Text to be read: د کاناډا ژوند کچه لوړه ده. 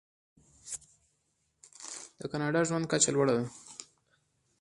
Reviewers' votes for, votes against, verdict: 2, 1, accepted